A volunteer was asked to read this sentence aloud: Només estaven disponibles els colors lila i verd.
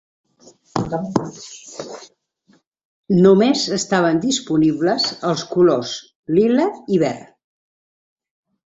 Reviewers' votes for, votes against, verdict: 2, 1, accepted